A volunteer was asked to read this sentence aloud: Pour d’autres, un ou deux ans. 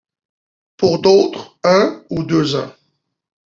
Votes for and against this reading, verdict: 2, 1, accepted